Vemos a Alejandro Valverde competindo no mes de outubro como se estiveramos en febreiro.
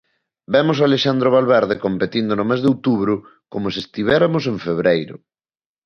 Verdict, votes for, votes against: rejected, 0, 2